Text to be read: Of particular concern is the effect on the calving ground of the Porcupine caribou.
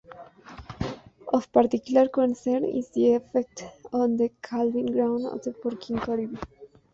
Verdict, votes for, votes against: rejected, 0, 2